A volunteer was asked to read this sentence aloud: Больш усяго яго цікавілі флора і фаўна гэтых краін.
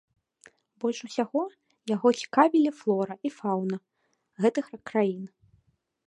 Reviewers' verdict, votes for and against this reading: accepted, 2, 1